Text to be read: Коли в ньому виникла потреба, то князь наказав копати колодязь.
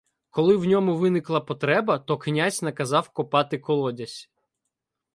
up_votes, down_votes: 2, 0